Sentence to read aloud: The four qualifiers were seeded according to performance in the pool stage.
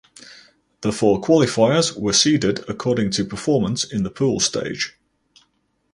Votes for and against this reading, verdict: 4, 0, accepted